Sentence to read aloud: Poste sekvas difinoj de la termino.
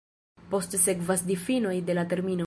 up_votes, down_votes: 0, 2